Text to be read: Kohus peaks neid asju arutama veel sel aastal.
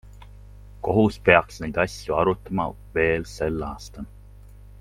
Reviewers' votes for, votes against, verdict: 2, 0, accepted